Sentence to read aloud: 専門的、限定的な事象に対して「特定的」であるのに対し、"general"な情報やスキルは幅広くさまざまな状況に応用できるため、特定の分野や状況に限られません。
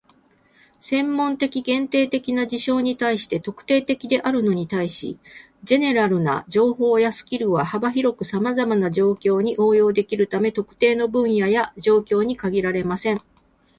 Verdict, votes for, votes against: accepted, 4, 0